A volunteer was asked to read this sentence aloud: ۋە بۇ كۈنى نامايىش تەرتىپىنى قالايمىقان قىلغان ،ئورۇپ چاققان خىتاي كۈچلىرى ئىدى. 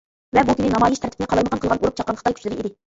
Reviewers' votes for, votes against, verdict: 0, 2, rejected